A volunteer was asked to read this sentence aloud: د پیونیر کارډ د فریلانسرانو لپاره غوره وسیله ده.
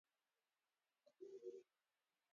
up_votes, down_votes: 0, 2